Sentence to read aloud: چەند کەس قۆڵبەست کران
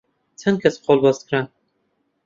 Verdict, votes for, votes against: accepted, 2, 0